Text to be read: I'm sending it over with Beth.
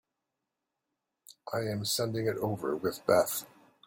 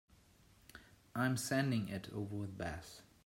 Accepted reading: second